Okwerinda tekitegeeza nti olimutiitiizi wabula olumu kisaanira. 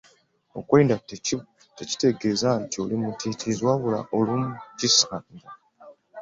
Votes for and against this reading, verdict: 2, 0, accepted